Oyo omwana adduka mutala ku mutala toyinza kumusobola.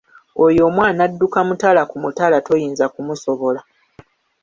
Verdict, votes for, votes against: accepted, 2, 1